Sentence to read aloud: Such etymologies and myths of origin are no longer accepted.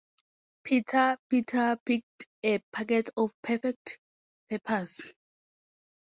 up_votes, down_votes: 0, 4